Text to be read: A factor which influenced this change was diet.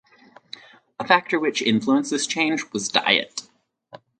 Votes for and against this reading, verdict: 4, 0, accepted